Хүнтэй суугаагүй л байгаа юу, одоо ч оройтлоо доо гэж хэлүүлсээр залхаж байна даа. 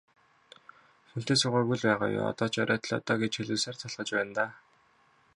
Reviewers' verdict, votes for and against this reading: rejected, 0, 2